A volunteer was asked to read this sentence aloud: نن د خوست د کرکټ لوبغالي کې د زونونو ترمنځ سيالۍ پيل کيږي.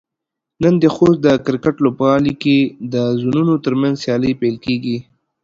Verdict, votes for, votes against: accepted, 2, 0